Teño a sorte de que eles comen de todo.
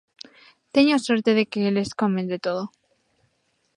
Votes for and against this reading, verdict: 2, 1, accepted